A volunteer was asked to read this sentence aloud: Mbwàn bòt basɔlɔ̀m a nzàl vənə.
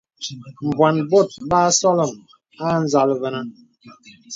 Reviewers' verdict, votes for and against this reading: accepted, 2, 0